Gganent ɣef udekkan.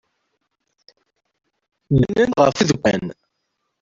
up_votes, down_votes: 0, 2